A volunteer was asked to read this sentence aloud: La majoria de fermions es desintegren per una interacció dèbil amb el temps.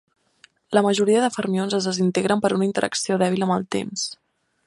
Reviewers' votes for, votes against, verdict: 3, 0, accepted